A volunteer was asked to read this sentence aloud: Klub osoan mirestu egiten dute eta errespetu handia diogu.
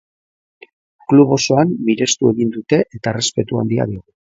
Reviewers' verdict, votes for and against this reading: rejected, 1, 2